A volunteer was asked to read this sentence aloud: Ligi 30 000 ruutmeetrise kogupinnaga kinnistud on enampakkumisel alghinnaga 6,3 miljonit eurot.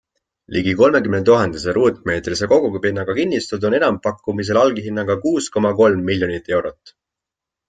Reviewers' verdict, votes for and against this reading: rejected, 0, 2